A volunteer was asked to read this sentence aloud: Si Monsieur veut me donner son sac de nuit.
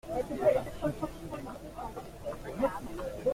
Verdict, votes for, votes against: rejected, 0, 2